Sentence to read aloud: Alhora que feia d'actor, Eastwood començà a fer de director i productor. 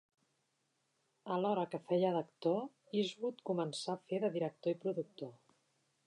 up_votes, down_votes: 4, 1